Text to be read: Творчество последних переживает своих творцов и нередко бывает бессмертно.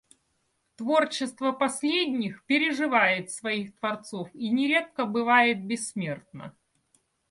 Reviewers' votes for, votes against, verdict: 2, 0, accepted